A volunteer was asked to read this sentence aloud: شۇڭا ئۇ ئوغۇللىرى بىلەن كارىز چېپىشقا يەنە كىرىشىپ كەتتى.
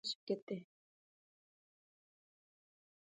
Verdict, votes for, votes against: rejected, 0, 2